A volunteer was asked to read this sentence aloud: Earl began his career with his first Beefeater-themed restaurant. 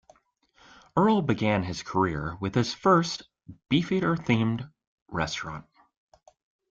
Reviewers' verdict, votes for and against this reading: accepted, 2, 0